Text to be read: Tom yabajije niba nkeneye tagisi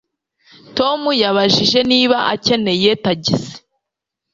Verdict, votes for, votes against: rejected, 1, 2